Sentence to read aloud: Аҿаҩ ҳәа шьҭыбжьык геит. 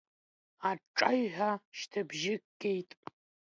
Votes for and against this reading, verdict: 2, 0, accepted